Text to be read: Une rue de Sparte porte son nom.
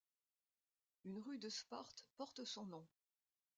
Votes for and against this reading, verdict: 2, 1, accepted